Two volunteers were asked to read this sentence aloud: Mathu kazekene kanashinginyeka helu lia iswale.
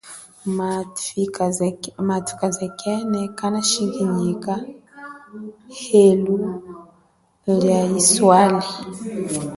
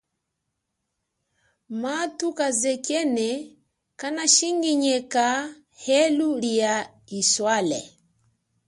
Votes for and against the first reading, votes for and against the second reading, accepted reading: 1, 2, 2, 0, second